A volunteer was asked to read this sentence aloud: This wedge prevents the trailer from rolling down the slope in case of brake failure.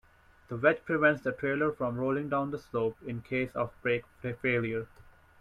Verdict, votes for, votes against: rejected, 1, 2